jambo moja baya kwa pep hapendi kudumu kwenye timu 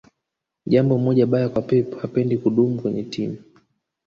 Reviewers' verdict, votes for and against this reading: accepted, 2, 0